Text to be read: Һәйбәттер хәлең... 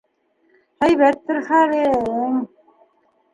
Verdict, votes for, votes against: rejected, 1, 2